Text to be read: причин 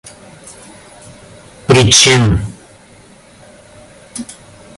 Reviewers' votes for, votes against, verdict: 2, 1, accepted